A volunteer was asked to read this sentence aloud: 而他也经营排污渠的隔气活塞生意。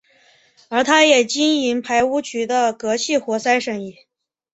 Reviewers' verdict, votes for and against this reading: accepted, 6, 0